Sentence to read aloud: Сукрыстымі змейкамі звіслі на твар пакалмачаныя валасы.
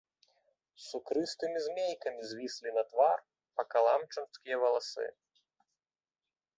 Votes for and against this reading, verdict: 1, 2, rejected